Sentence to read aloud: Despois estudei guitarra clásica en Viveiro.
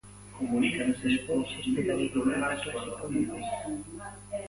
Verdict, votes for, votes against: rejected, 0, 3